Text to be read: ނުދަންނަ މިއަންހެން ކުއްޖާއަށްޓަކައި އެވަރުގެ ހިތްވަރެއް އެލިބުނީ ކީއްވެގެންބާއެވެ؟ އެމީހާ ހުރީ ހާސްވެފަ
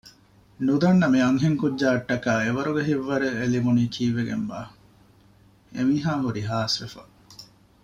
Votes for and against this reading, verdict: 2, 0, accepted